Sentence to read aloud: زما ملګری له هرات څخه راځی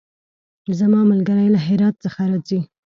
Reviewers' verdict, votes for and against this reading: accepted, 2, 0